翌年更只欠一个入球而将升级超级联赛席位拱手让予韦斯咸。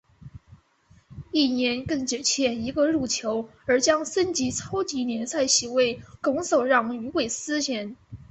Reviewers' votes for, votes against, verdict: 2, 0, accepted